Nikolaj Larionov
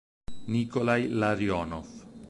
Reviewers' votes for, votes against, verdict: 0, 4, rejected